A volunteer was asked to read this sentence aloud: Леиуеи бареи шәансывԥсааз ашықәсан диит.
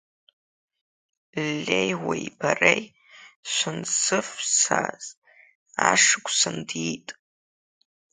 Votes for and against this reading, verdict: 0, 2, rejected